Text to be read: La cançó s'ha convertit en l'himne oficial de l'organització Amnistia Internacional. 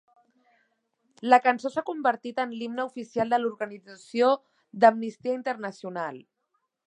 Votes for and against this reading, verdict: 0, 2, rejected